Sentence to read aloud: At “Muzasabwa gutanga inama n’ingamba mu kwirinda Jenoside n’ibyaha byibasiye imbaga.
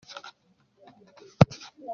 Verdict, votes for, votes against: rejected, 0, 2